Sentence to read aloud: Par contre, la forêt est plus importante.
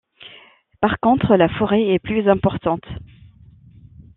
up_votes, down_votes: 2, 0